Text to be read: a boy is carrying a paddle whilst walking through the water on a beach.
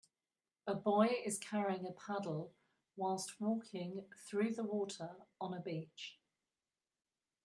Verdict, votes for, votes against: accepted, 3, 0